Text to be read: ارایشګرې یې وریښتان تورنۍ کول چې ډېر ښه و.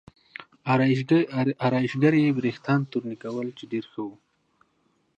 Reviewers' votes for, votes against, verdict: 2, 0, accepted